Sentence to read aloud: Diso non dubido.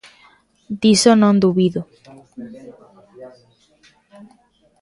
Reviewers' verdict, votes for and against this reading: accepted, 2, 0